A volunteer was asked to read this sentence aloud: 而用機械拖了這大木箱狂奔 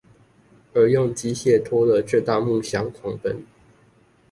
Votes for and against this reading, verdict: 2, 0, accepted